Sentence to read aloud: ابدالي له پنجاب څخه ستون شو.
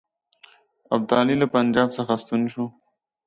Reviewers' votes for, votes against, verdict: 2, 0, accepted